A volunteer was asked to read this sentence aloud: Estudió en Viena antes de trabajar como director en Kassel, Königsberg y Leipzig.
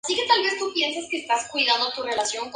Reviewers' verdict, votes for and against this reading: rejected, 0, 2